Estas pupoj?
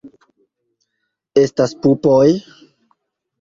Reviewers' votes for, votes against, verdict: 2, 0, accepted